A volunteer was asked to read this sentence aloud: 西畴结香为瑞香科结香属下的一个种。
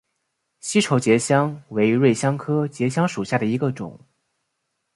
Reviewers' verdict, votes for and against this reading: accepted, 3, 0